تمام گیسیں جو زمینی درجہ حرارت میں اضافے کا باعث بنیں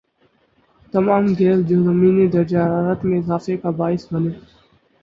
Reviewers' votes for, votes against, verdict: 4, 0, accepted